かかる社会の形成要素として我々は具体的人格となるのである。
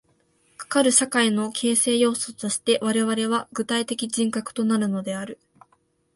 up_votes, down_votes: 2, 0